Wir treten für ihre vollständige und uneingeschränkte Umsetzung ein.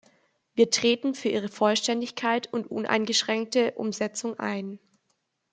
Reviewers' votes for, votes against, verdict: 1, 2, rejected